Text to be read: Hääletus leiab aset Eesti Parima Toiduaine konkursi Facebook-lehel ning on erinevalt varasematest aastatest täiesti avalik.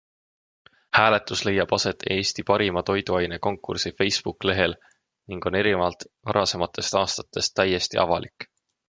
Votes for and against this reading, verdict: 3, 0, accepted